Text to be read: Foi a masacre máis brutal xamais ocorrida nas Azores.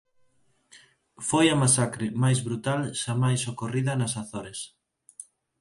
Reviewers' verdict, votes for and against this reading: accepted, 4, 0